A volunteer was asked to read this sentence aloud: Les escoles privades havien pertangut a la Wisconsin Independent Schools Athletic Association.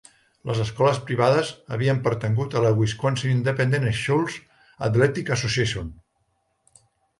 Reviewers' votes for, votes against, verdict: 1, 2, rejected